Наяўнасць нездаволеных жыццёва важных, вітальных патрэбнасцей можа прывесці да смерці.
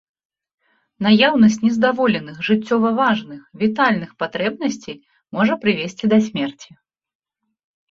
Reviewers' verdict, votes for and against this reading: accepted, 2, 0